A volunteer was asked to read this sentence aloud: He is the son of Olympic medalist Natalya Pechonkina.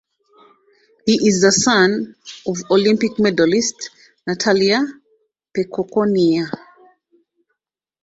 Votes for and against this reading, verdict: 1, 2, rejected